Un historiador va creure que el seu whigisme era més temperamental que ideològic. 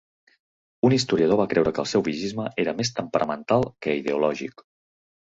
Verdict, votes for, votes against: accepted, 2, 0